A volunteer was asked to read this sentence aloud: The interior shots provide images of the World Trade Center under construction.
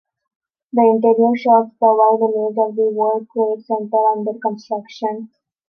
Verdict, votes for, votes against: rejected, 0, 2